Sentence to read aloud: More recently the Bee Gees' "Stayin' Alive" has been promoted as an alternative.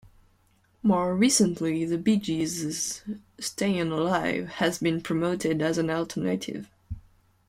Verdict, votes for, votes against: rejected, 0, 2